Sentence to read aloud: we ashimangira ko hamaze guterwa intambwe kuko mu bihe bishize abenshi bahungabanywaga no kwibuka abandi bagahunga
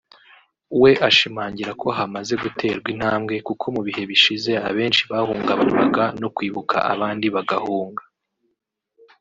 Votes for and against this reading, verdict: 2, 1, accepted